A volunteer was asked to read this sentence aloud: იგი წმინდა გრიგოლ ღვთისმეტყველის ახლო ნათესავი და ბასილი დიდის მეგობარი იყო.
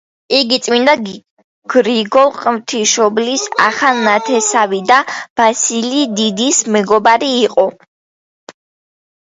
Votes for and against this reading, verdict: 0, 2, rejected